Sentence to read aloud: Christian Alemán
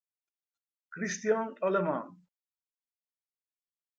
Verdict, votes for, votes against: accepted, 2, 0